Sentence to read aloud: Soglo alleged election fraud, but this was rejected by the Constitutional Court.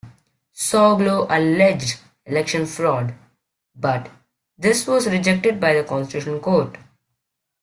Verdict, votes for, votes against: rejected, 0, 2